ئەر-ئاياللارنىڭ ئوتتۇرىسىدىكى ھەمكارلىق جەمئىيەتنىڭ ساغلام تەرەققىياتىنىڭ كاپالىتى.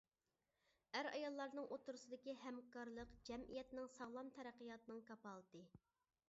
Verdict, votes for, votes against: accepted, 3, 0